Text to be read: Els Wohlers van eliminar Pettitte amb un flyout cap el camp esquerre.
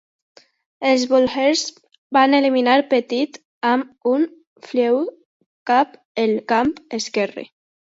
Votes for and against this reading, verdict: 1, 2, rejected